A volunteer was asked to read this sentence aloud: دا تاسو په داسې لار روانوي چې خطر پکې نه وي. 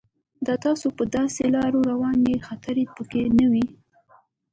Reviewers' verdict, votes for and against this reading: accepted, 2, 0